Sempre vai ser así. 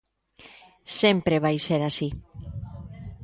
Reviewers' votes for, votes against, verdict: 1, 2, rejected